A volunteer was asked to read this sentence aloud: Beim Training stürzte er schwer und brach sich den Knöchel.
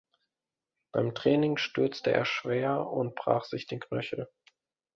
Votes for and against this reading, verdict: 2, 0, accepted